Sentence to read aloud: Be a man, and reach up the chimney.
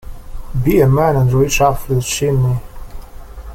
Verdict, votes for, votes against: rejected, 1, 2